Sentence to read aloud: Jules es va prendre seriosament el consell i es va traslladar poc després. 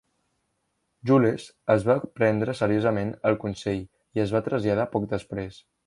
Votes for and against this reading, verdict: 1, 2, rejected